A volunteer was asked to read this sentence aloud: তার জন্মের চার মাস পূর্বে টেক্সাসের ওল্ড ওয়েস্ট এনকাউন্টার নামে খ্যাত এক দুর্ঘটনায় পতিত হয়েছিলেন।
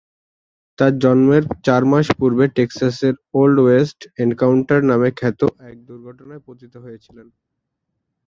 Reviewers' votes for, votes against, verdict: 0, 2, rejected